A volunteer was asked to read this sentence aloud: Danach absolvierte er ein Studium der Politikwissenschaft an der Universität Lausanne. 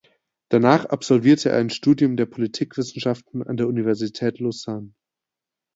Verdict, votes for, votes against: rejected, 0, 2